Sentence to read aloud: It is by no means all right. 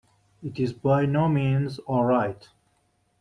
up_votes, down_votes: 2, 0